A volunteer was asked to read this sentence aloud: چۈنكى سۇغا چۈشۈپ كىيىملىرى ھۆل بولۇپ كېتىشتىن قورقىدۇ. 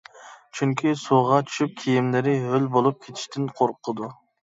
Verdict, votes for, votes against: accepted, 2, 0